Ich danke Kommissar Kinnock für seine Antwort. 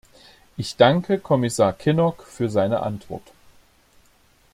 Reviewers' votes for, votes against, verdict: 2, 0, accepted